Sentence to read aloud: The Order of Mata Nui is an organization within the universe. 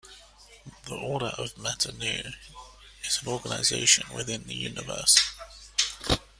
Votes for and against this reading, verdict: 2, 0, accepted